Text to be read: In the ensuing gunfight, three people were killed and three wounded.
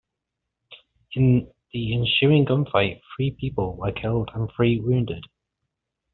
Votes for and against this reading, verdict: 2, 0, accepted